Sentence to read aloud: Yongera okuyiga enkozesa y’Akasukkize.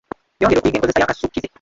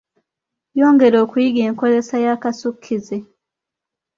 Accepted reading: second